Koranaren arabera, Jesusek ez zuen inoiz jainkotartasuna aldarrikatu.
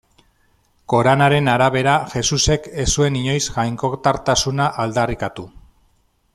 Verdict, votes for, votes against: accepted, 2, 0